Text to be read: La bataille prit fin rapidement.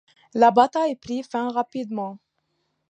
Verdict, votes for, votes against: accepted, 2, 0